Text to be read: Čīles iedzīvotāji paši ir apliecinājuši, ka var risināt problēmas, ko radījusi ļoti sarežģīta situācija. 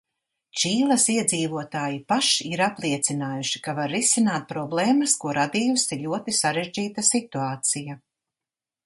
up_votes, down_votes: 2, 0